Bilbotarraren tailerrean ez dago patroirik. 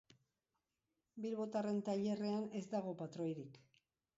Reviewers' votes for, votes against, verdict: 1, 2, rejected